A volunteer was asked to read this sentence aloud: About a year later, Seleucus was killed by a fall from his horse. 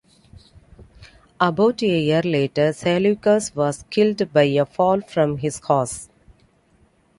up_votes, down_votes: 2, 0